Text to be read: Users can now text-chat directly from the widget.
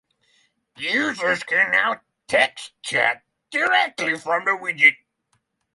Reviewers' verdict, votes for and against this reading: accepted, 3, 0